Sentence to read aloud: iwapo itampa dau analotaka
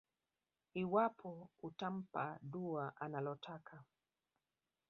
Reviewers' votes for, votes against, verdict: 0, 2, rejected